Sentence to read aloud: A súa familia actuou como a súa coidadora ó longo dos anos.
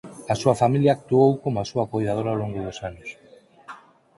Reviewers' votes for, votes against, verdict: 4, 0, accepted